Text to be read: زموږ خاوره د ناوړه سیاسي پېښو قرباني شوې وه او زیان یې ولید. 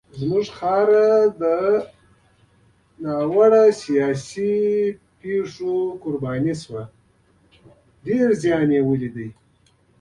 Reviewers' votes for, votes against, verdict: 1, 2, rejected